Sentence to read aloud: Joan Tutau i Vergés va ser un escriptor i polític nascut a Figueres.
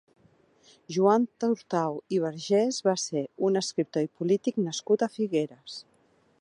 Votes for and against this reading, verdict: 0, 2, rejected